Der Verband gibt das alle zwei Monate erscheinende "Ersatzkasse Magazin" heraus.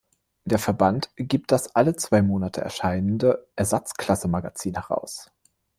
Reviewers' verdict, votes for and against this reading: rejected, 1, 2